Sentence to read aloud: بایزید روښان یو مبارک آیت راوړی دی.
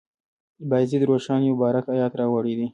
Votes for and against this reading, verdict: 2, 1, accepted